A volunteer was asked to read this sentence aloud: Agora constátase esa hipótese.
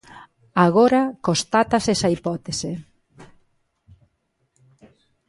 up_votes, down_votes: 2, 1